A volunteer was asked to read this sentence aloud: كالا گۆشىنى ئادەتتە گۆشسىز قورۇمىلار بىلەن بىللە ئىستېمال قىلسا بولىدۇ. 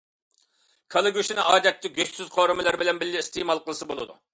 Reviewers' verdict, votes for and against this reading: accepted, 2, 0